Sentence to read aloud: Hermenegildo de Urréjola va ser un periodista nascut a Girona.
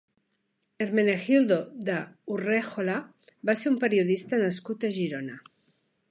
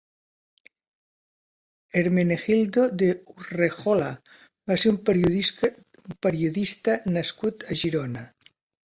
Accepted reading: first